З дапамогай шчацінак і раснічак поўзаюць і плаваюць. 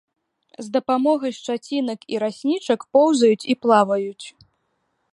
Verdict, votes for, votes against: accepted, 2, 0